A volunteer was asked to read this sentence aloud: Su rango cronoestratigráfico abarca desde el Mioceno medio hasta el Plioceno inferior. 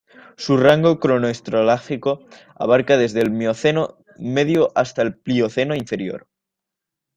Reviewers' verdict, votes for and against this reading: rejected, 0, 2